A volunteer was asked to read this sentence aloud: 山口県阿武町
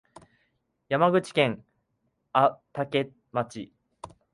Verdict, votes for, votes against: rejected, 0, 3